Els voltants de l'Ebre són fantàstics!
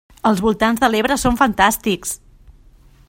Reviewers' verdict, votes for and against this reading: accepted, 3, 0